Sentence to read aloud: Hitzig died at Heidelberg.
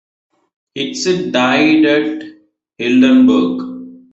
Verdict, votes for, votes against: accepted, 2, 0